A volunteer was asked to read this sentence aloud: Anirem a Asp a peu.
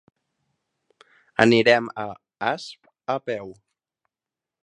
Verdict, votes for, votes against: accepted, 3, 0